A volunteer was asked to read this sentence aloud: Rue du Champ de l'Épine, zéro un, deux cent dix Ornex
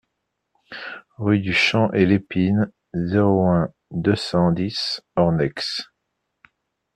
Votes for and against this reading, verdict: 1, 2, rejected